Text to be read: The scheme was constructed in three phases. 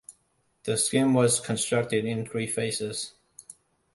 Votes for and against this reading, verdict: 2, 0, accepted